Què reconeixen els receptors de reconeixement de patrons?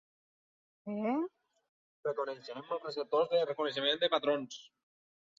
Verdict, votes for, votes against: rejected, 0, 2